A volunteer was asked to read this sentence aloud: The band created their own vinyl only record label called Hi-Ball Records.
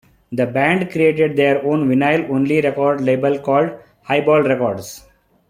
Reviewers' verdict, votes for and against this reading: accepted, 2, 1